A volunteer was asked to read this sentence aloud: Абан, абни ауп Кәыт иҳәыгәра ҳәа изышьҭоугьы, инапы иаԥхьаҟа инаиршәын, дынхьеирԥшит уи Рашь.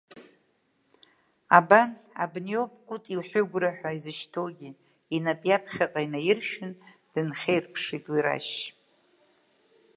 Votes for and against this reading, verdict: 1, 2, rejected